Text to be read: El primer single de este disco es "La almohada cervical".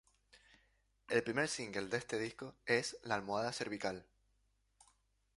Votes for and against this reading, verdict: 2, 0, accepted